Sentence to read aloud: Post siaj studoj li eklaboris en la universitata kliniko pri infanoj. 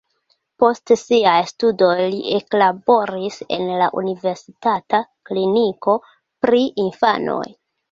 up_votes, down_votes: 2, 0